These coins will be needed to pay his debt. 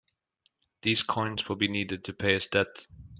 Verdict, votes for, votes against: rejected, 1, 2